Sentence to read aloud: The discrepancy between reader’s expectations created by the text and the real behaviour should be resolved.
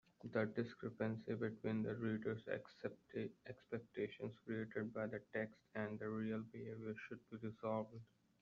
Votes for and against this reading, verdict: 0, 2, rejected